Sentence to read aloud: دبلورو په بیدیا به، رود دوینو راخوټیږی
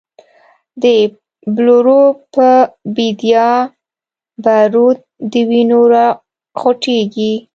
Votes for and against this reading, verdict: 1, 2, rejected